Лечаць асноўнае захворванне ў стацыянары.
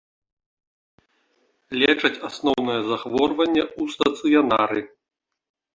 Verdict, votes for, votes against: accepted, 2, 0